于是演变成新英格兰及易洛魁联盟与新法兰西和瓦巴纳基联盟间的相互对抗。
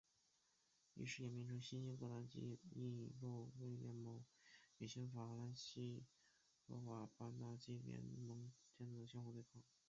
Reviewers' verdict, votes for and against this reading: rejected, 0, 3